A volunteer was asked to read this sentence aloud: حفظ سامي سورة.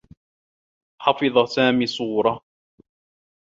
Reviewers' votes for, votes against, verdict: 1, 2, rejected